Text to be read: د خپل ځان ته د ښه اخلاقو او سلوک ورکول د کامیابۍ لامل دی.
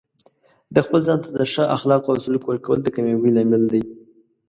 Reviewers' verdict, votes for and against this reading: accepted, 3, 0